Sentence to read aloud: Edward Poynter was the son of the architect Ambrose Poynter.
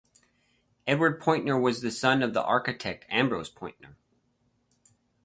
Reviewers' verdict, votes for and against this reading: rejected, 2, 4